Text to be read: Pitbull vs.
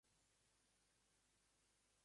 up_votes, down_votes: 0, 2